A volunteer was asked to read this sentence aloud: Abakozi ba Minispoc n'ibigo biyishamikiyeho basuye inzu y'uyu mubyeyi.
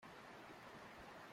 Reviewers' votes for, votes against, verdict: 0, 2, rejected